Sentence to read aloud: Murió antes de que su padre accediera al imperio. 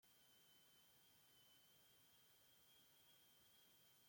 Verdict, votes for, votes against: rejected, 0, 2